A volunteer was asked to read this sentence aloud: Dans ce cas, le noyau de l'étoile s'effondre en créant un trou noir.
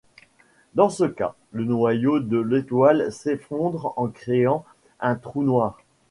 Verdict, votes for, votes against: accepted, 2, 1